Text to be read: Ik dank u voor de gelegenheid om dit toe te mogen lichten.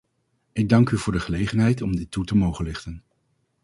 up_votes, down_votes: 4, 0